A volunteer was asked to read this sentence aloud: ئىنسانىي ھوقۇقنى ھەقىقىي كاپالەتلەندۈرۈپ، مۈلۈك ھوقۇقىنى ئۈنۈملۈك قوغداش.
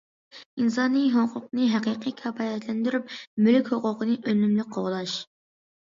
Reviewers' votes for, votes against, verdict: 2, 0, accepted